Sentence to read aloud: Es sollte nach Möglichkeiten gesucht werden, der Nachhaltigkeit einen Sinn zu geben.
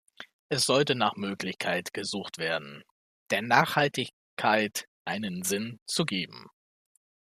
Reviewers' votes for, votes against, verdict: 0, 2, rejected